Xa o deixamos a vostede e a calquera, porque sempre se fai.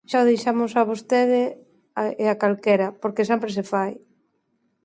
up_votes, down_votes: 2, 1